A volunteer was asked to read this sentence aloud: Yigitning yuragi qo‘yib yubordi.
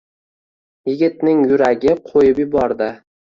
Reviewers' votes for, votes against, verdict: 2, 0, accepted